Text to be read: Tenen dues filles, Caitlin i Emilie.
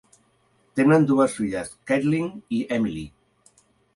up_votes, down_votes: 2, 0